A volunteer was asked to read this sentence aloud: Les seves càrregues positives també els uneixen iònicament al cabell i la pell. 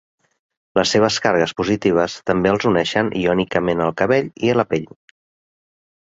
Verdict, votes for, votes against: accepted, 2, 0